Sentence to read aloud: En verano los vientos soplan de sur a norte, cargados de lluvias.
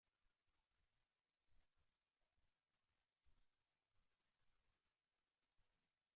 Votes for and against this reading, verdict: 1, 2, rejected